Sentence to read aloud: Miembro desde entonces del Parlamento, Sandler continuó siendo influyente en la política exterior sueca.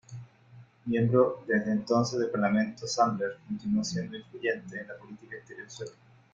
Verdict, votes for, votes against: rejected, 1, 2